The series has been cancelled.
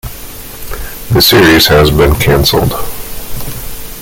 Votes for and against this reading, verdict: 2, 0, accepted